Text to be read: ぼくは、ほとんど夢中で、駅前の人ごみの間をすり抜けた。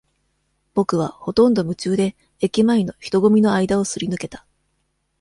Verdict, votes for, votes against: accepted, 2, 0